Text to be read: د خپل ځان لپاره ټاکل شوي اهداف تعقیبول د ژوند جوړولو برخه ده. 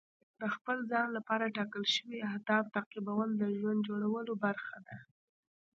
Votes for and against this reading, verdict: 2, 0, accepted